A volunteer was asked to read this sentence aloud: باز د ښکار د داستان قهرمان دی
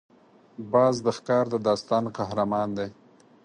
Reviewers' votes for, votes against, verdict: 4, 0, accepted